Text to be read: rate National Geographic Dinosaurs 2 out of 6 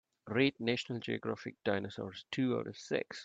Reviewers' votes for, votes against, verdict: 0, 2, rejected